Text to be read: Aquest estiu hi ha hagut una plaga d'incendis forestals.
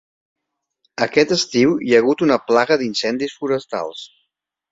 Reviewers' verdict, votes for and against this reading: accepted, 3, 0